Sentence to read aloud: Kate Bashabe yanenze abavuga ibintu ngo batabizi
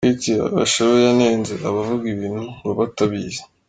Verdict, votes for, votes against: rejected, 1, 2